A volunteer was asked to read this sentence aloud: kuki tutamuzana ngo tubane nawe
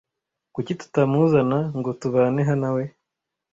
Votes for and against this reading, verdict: 1, 2, rejected